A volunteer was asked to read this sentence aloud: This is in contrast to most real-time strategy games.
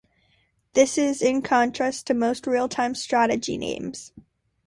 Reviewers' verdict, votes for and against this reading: rejected, 1, 2